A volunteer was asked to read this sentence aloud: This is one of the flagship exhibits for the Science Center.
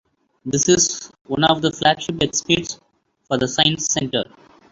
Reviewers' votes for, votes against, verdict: 1, 2, rejected